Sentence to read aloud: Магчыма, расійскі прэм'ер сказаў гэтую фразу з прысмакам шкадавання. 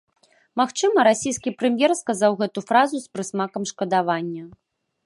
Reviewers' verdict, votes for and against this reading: rejected, 0, 2